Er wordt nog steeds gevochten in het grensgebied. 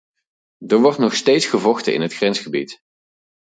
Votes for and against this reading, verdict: 0, 4, rejected